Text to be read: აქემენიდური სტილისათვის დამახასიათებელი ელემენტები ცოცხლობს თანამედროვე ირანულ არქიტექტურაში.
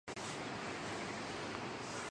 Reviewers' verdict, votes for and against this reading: rejected, 0, 4